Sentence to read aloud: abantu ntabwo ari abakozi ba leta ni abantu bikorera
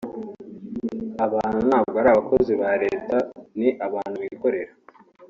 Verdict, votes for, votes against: accepted, 2, 0